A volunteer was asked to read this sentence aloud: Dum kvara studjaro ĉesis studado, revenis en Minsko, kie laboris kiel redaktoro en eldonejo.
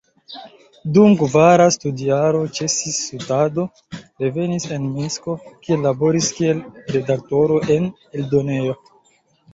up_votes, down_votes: 1, 2